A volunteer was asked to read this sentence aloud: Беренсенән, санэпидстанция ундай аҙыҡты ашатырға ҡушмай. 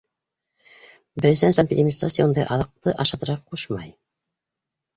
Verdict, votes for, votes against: rejected, 0, 2